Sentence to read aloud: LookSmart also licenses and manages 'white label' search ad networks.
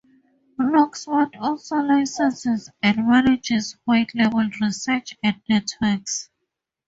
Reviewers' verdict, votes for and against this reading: accepted, 4, 0